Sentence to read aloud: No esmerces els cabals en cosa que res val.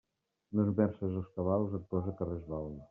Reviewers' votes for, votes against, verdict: 2, 0, accepted